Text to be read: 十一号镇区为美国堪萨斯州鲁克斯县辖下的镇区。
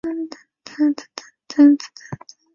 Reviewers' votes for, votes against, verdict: 0, 2, rejected